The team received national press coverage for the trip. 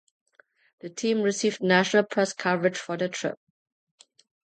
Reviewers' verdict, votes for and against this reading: accepted, 2, 0